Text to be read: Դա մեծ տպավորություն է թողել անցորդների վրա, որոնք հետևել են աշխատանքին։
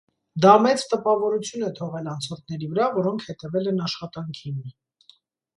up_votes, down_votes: 2, 0